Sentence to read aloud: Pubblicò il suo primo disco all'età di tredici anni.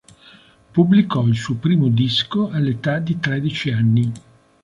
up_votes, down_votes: 3, 0